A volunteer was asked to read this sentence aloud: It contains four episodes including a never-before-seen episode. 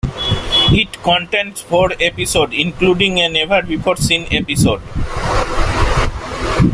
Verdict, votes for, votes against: rejected, 1, 2